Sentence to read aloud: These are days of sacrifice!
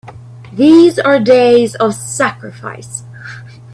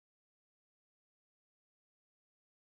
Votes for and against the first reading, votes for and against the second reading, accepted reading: 2, 0, 0, 2, first